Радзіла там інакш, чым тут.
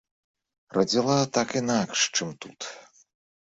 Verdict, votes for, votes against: rejected, 0, 2